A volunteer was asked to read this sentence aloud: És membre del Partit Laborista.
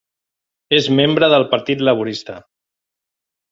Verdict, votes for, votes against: accepted, 4, 0